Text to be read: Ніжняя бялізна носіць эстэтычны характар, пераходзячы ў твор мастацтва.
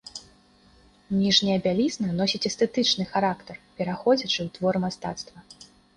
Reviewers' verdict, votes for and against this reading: accepted, 2, 0